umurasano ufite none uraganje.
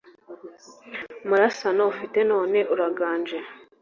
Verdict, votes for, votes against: accepted, 3, 0